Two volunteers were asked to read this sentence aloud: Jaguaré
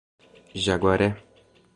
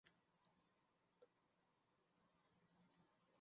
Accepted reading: first